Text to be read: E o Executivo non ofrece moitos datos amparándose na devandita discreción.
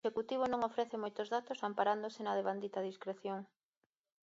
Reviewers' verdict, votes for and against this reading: accepted, 2, 0